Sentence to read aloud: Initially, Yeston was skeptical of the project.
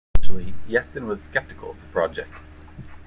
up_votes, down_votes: 0, 2